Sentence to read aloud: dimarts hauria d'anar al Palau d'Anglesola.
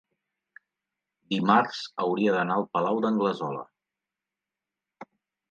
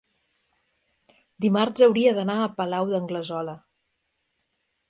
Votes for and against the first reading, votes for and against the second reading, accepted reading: 3, 0, 1, 2, first